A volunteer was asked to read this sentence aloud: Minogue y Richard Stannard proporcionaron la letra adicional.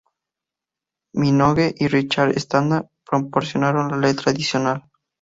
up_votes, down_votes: 2, 0